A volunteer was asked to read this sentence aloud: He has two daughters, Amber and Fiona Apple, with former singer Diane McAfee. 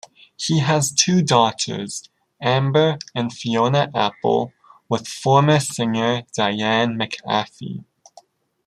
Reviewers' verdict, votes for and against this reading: accepted, 2, 0